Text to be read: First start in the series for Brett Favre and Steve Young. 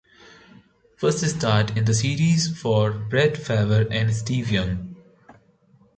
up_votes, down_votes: 0, 2